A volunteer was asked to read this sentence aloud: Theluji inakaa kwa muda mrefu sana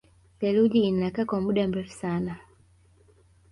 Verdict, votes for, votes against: accepted, 3, 1